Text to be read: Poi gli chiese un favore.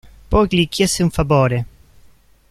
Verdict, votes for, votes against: rejected, 0, 2